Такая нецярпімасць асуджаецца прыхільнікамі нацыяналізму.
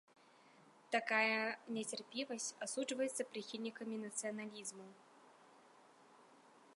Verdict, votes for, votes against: rejected, 1, 3